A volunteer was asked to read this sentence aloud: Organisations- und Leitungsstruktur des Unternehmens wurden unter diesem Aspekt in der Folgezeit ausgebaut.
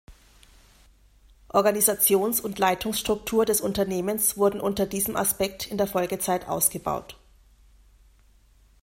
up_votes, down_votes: 2, 0